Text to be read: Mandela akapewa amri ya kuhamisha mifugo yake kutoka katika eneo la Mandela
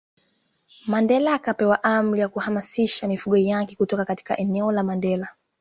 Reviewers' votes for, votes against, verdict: 2, 1, accepted